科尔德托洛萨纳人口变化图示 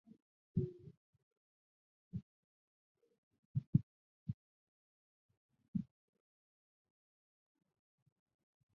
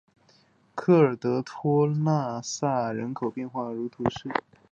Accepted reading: second